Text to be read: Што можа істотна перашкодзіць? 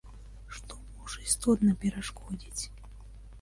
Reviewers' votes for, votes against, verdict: 0, 2, rejected